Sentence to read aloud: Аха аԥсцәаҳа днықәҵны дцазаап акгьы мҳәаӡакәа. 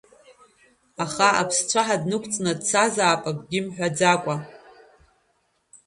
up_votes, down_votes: 0, 2